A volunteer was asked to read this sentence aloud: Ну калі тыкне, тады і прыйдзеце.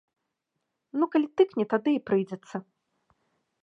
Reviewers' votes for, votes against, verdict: 1, 2, rejected